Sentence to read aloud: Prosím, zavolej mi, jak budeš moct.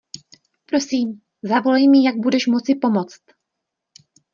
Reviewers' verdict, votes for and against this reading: rejected, 0, 2